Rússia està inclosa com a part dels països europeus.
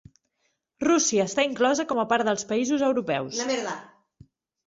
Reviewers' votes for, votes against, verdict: 0, 2, rejected